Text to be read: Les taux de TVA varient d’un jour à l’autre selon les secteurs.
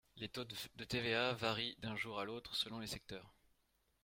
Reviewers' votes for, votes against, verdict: 0, 3, rejected